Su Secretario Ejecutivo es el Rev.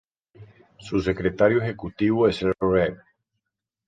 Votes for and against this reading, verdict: 2, 0, accepted